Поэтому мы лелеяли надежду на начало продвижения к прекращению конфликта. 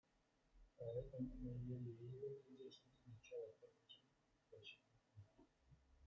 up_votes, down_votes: 0, 2